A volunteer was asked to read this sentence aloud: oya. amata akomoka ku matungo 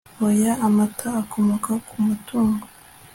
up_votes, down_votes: 2, 0